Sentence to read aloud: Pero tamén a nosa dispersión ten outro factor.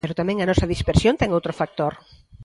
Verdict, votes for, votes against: rejected, 1, 2